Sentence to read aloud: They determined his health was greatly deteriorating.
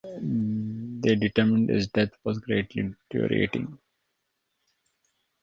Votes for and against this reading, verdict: 0, 2, rejected